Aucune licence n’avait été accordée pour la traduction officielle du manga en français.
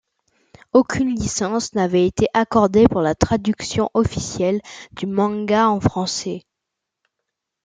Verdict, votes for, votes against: accepted, 2, 0